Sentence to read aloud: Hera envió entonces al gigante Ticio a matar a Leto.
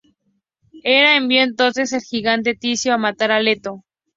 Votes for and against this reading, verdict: 2, 0, accepted